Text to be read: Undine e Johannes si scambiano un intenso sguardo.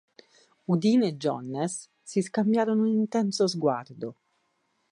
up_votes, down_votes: 2, 4